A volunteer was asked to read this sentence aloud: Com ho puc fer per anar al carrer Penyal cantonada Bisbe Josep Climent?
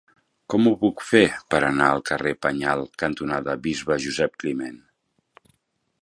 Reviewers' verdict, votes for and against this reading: accepted, 2, 0